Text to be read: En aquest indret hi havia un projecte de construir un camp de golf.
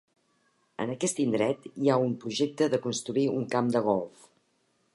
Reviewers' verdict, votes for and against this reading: rejected, 1, 2